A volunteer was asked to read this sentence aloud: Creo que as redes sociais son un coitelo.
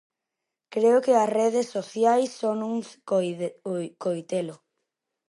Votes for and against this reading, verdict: 0, 2, rejected